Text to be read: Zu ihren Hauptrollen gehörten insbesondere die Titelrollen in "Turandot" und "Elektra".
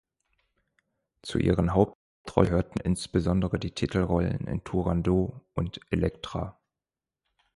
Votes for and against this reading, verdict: 2, 3, rejected